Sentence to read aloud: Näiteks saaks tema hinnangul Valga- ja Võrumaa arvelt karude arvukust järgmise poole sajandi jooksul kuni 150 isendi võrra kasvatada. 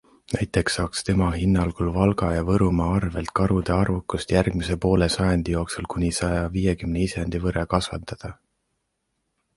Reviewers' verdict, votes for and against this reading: rejected, 0, 2